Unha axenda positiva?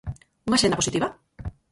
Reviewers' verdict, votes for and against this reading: rejected, 2, 4